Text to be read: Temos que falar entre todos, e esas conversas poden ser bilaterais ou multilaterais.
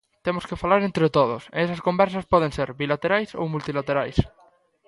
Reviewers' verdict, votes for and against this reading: accepted, 2, 0